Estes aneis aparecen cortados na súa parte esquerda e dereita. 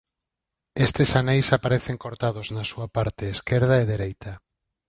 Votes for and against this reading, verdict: 4, 0, accepted